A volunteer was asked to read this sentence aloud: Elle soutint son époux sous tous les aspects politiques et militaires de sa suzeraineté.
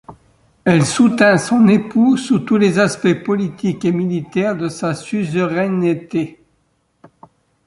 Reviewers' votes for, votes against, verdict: 0, 2, rejected